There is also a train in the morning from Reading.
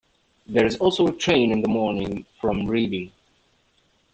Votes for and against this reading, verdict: 1, 2, rejected